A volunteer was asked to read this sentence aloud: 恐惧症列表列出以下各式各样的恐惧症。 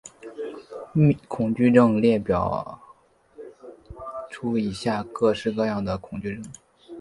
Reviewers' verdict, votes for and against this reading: accepted, 2, 0